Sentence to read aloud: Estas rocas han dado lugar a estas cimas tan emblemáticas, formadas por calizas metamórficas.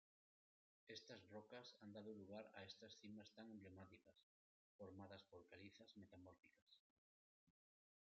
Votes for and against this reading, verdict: 2, 0, accepted